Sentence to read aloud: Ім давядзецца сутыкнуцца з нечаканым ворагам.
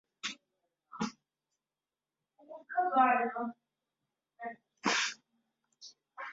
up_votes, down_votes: 0, 2